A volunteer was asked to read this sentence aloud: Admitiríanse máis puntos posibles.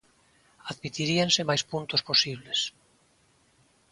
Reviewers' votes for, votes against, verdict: 2, 0, accepted